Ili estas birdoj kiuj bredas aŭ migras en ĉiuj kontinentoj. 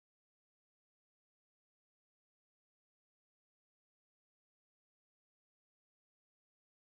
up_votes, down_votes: 2, 0